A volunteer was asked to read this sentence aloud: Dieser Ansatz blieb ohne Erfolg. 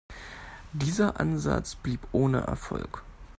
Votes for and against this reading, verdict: 2, 0, accepted